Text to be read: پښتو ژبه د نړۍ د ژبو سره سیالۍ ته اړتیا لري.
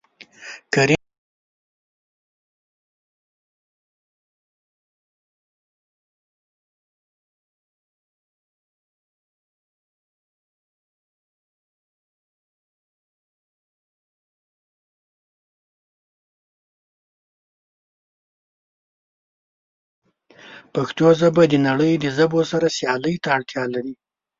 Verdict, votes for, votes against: rejected, 0, 2